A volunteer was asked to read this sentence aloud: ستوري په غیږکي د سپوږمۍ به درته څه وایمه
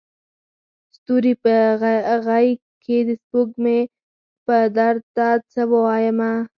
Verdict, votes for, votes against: rejected, 2, 4